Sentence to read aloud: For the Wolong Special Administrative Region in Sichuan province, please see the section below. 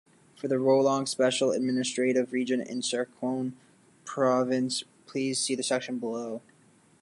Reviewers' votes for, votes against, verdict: 0, 2, rejected